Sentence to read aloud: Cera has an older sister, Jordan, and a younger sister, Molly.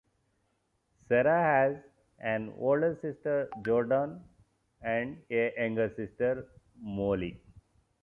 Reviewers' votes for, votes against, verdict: 0, 2, rejected